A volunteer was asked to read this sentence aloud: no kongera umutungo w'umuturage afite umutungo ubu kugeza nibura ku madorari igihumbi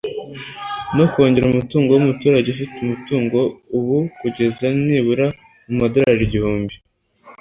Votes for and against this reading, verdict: 2, 1, accepted